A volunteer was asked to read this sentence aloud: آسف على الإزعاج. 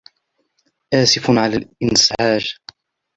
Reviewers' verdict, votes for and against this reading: rejected, 0, 2